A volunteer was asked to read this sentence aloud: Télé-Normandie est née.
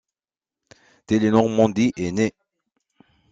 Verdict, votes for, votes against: accepted, 2, 0